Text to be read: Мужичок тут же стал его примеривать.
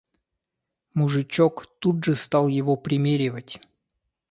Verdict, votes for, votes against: accepted, 2, 0